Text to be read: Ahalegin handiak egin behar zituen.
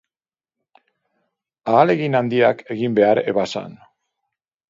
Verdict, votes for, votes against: rejected, 0, 2